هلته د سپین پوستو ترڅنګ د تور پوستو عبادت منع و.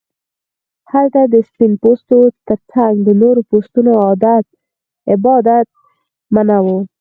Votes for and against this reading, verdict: 4, 0, accepted